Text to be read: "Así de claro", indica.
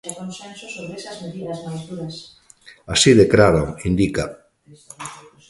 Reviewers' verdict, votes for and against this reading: rejected, 1, 2